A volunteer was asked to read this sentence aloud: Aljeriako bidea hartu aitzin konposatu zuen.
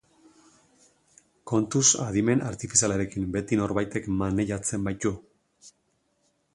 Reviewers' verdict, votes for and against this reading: rejected, 0, 2